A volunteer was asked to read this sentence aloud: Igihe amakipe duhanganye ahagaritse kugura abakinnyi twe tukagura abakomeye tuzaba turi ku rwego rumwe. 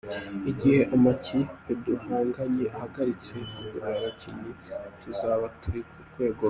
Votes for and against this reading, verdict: 2, 1, accepted